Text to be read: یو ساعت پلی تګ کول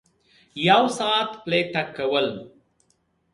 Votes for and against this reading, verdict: 0, 2, rejected